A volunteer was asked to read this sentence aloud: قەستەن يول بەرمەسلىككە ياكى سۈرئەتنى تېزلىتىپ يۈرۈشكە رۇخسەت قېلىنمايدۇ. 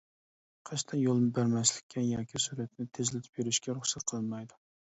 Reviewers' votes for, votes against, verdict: 0, 2, rejected